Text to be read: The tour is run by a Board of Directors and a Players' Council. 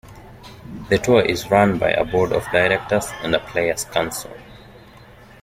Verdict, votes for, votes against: accepted, 2, 1